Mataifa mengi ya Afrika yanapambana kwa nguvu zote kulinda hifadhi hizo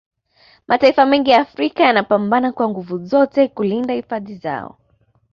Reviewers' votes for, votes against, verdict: 2, 0, accepted